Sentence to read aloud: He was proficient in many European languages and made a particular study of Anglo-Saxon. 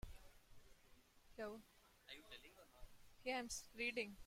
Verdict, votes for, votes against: rejected, 0, 2